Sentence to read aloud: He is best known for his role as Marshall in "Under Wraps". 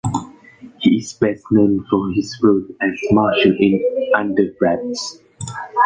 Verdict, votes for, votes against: accepted, 2, 0